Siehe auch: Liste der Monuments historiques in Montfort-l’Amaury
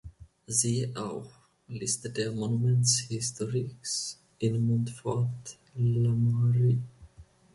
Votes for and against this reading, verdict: 0, 2, rejected